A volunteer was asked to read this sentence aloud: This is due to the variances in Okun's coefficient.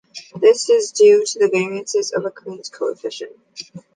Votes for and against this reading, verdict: 2, 0, accepted